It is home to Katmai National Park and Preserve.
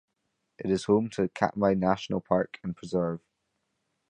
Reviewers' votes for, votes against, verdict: 0, 2, rejected